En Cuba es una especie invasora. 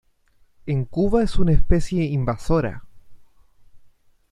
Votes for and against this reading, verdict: 2, 0, accepted